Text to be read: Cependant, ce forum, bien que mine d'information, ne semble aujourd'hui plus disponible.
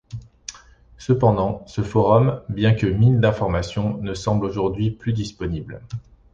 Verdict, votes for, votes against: accepted, 2, 0